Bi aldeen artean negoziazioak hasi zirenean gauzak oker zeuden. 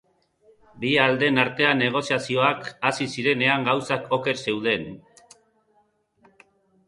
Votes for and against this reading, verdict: 3, 0, accepted